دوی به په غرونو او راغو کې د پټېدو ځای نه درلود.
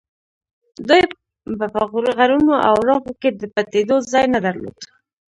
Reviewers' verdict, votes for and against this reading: rejected, 1, 2